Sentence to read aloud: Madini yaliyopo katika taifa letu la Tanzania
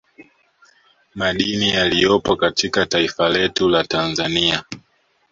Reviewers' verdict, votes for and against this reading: accepted, 2, 0